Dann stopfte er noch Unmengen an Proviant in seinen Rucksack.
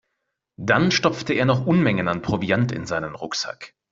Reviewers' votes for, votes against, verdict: 2, 0, accepted